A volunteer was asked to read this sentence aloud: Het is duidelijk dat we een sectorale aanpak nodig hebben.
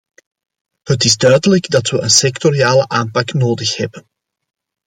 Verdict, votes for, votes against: rejected, 1, 2